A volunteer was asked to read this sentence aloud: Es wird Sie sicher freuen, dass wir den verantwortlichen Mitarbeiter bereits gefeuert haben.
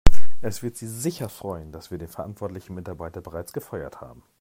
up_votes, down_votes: 2, 0